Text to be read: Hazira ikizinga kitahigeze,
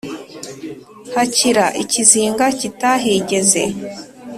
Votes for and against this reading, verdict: 2, 3, rejected